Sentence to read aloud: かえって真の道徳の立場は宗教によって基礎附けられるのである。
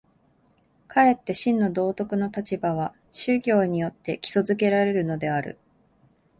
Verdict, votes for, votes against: accepted, 5, 0